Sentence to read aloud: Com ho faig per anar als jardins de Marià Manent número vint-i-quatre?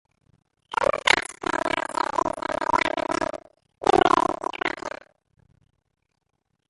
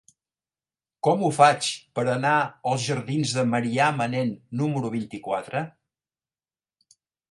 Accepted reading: second